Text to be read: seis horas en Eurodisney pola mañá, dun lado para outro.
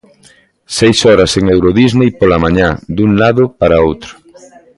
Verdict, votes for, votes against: rejected, 1, 2